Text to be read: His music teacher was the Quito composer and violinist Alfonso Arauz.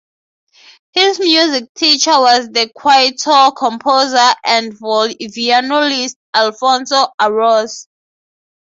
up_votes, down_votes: 3, 0